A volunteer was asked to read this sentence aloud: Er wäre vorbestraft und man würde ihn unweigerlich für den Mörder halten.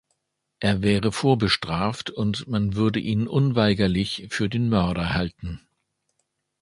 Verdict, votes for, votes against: accepted, 2, 0